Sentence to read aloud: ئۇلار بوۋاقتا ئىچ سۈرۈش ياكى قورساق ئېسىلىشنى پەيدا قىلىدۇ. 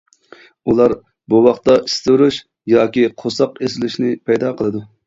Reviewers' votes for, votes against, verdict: 0, 2, rejected